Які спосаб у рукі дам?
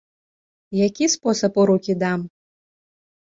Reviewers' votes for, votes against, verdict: 3, 0, accepted